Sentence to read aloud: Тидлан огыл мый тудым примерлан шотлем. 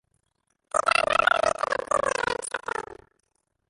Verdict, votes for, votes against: rejected, 1, 2